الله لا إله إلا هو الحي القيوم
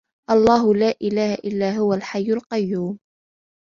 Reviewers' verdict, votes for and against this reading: accepted, 2, 0